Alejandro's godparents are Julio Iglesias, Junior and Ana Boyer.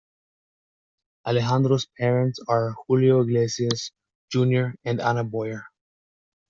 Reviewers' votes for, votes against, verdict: 0, 2, rejected